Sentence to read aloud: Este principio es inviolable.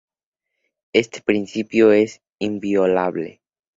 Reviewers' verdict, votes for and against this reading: accepted, 2, 0